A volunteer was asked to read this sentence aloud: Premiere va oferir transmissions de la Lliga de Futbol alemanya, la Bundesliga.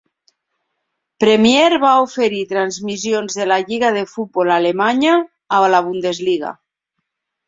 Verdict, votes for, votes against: rejected, 0, 2